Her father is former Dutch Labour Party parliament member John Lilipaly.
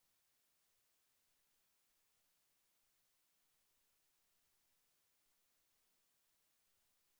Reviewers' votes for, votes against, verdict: 0, 2, rejected